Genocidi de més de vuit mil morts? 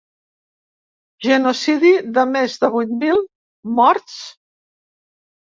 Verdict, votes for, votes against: rejected, 0, 2